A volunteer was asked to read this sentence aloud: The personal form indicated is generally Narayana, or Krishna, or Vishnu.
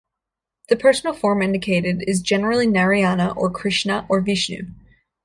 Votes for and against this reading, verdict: 2, 0, accepted